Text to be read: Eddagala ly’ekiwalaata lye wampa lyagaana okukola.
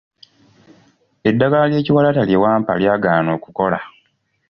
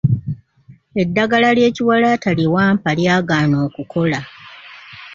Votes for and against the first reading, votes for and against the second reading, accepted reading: 2, 0, 1, 2, first